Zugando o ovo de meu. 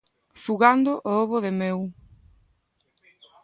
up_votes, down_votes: 2, 0